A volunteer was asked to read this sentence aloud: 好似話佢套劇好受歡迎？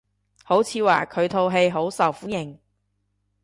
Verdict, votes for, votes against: rejected, 1, 2